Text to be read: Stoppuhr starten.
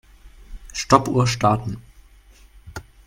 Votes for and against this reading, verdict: 3, 0, accepted